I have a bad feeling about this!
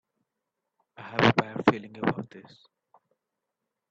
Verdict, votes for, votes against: rejected, 1, 2